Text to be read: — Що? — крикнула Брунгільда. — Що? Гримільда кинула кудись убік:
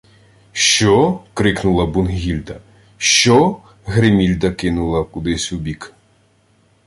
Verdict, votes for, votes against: rejected, 0, 2